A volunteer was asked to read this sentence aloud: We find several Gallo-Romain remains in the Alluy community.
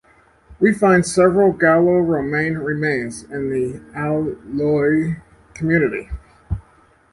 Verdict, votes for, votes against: rejected, 1, 2